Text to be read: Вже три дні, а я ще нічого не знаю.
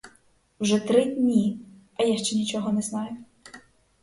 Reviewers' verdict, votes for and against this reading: accepted, 4, 0